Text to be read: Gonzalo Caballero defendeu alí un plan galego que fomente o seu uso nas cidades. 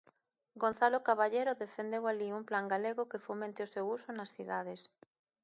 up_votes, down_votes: 2, 0